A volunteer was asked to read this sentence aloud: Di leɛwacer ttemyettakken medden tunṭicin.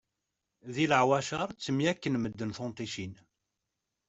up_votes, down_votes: 0, 2